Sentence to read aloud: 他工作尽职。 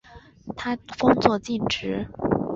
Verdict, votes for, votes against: accepted, 2, 0